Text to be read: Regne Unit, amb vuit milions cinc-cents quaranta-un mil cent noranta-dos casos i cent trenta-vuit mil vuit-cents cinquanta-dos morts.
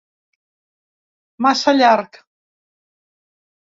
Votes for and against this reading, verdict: 0, 2, rejected